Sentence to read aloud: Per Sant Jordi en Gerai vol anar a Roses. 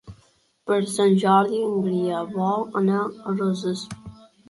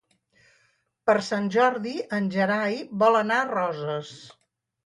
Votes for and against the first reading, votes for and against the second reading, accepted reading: 0, 2, 4, 0, second